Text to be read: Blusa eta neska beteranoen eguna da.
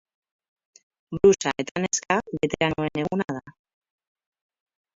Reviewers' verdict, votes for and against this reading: rejected, 0, 4